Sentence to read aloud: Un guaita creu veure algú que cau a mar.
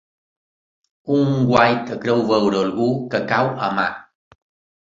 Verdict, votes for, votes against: accepted, 2, 0